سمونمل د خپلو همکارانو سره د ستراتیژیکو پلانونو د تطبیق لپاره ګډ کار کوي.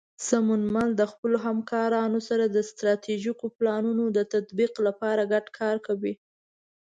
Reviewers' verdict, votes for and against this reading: accepted, 2, 0